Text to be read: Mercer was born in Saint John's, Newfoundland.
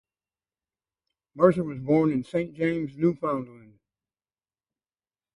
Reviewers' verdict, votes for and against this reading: rejected, 0, 2